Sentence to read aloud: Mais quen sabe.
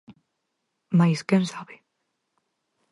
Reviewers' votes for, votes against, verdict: 4, 0, accepted